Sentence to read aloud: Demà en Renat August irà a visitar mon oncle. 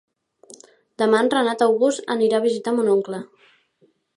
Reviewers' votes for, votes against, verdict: 0, 2, rejected